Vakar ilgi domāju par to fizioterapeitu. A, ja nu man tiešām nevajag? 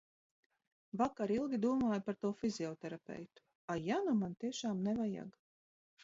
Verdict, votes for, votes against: accepted, 2, 0